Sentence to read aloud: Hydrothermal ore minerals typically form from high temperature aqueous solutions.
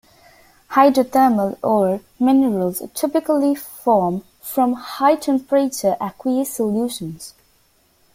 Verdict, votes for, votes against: accepted, 2, 0